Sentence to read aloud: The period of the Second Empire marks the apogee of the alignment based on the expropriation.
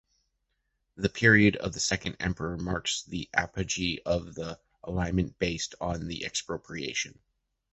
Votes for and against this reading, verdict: 1, 2, rejected